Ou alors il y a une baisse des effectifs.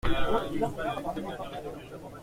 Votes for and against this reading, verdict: 0, 2, rejected